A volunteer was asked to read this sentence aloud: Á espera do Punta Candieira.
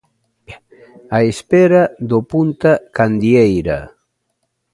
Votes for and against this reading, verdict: 2, 0, accepted